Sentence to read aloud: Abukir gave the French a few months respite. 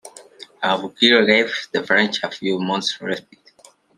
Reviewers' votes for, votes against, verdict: 1, 2, rejected